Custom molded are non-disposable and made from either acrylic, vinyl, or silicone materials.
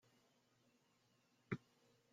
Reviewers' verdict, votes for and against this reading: rejected, 0, 2